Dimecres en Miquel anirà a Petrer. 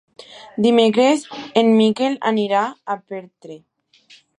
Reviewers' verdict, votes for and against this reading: rejected, 0, 2